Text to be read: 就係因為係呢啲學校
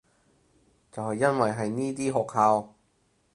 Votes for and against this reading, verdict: 4, 0, accepted